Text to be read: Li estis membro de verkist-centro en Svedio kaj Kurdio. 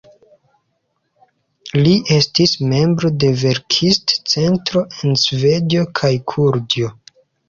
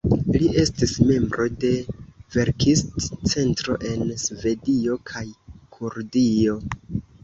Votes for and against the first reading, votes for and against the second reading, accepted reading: 0, 2, 2, 0, second